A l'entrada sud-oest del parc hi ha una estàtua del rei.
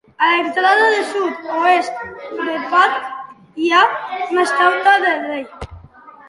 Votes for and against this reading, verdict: 1, 2, rejected